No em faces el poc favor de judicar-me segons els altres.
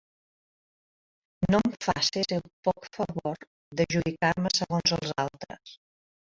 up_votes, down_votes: 1, 3